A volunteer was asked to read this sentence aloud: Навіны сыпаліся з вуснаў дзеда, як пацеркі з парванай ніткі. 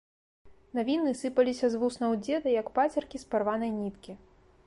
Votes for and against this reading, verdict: 2, 0, accepted